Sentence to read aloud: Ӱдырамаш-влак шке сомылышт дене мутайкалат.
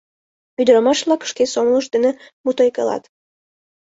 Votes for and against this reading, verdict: 2, 0, accepted